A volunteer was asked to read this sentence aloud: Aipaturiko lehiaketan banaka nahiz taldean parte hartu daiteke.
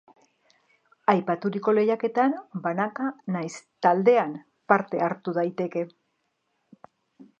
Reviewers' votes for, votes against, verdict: 2, 0, accepted